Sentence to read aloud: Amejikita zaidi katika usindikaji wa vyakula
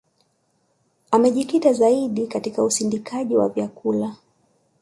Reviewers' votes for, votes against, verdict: 3, 0, accepted